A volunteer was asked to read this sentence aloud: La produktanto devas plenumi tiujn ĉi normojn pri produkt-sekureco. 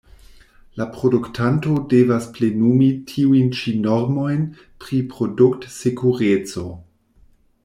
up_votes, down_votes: 2, 0